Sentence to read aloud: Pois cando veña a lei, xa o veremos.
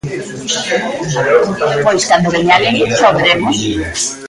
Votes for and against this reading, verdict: 0, 2, rejected